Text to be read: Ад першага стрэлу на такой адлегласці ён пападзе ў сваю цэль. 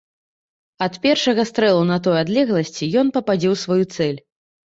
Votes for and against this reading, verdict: 0, 3, rejected